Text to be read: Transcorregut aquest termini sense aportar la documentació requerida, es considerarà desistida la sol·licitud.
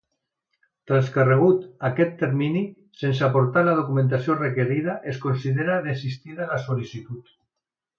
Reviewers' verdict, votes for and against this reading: rejected, 0, 2